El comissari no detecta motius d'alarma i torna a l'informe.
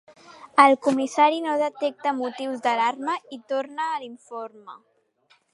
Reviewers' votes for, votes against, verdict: 2, 1, accepted